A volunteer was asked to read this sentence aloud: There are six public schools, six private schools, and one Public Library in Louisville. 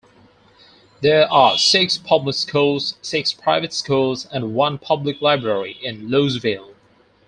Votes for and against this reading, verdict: 4, 2, accepted